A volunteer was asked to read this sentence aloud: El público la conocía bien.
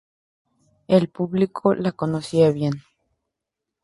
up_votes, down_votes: 2, 0